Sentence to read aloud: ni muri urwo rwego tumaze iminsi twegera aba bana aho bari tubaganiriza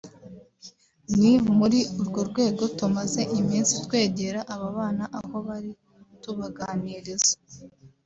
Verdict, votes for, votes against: accepted, 2, 0